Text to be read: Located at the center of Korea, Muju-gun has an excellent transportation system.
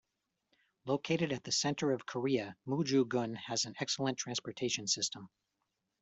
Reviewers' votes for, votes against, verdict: 2, 0, accepted